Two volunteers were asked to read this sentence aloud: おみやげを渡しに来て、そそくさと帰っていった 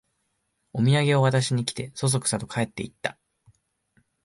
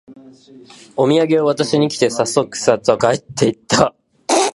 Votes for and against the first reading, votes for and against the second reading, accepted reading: 2, 0, 1, 2, first